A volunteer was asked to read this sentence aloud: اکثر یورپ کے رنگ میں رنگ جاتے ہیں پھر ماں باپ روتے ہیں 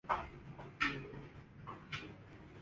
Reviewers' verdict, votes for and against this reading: rejected, 1, 2